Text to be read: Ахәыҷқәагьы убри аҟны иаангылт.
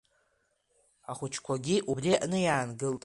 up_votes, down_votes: 2, 0